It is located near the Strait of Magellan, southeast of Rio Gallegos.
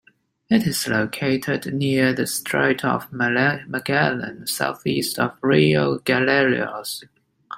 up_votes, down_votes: 0, 2